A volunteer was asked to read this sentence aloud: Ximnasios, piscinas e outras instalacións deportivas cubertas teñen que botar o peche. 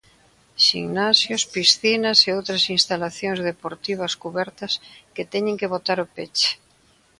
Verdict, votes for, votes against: rejected, 0, 2